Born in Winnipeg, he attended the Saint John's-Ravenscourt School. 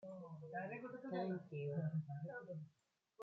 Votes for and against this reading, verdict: 0, 2, rejected